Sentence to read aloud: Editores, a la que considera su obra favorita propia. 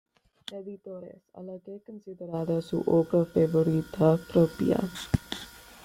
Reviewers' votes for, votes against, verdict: 1, 2, rejected